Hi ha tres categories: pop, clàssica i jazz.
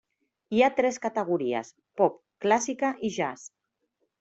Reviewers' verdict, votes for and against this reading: accepted, 3, 0